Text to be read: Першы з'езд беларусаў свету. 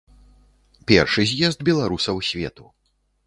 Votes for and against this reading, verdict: 2, 0, accepted